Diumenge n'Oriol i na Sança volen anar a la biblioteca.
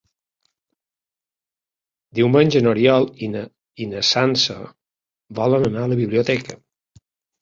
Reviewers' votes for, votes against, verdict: 1, 2, rejected